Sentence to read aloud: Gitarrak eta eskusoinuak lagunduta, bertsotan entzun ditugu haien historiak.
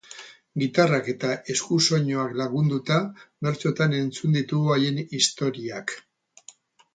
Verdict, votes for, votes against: accepted, 8, 0